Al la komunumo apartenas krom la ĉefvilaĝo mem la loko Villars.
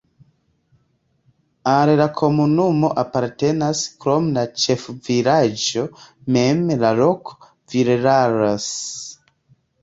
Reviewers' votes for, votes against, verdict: 2, 1, accepted